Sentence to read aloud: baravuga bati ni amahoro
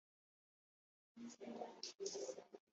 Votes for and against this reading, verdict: 1, 2, rejected